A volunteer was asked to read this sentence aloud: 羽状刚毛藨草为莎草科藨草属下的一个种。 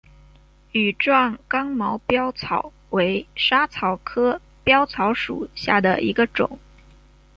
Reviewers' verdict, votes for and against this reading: accepted, 2, 1